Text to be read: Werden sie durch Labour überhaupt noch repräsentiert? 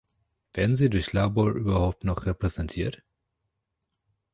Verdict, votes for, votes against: rejected, 0, 2